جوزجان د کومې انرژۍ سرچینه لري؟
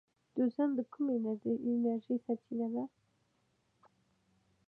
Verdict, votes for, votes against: rejected, 1, 2